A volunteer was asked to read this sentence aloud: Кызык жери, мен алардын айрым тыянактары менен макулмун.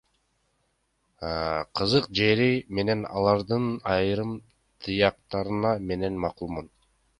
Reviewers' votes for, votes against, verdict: 1, 2, rejected